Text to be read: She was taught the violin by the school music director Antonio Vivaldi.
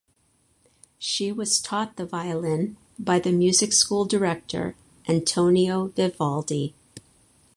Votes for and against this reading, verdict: 2, 4, rejected